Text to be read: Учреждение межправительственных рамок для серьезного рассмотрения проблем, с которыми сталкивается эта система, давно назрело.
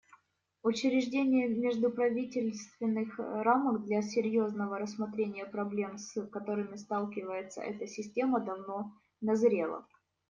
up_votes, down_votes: 0, 2